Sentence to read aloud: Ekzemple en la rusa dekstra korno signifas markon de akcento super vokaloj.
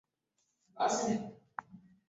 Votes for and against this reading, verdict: 1, 2, rejected